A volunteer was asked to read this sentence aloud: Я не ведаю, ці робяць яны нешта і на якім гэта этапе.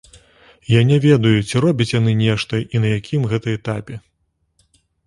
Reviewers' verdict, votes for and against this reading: accepted, 2, 0